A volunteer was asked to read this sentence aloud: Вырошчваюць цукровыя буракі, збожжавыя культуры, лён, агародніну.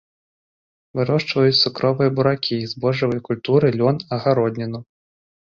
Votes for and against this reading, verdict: 2, 0, accepted